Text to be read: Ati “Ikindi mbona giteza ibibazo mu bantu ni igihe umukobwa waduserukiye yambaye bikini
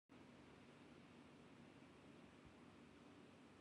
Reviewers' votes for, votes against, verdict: 0, 2, rejected